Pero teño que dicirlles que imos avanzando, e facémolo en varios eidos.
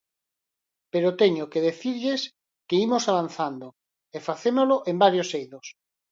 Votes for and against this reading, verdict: 2, 4, rejected